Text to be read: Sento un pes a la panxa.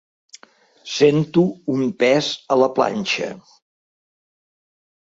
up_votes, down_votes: 1, 2